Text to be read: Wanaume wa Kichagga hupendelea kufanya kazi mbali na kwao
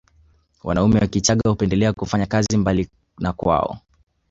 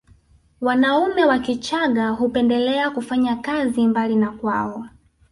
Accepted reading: second